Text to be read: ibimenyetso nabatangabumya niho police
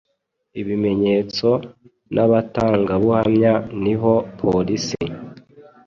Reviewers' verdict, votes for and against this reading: accepted, 2, 0